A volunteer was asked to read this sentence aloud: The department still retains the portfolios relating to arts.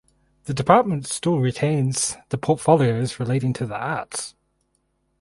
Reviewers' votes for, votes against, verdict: 0, 2, rejected